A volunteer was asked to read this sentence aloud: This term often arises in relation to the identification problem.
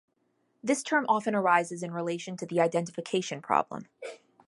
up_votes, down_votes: 2, 0